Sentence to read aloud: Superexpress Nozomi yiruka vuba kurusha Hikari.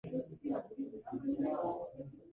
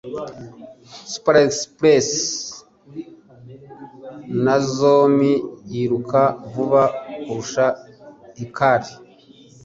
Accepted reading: second